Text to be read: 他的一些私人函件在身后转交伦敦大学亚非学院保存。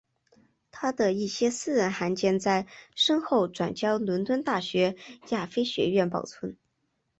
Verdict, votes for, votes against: accepted, 2, 0